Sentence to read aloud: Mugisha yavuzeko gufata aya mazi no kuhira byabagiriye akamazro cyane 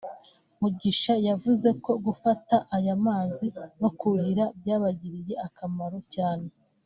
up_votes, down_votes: 1, 2